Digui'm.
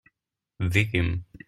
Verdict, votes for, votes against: rejected, 0, 2